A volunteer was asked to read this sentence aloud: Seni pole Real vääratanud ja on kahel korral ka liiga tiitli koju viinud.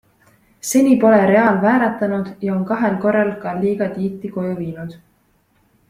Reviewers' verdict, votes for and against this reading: accepted, 2, 0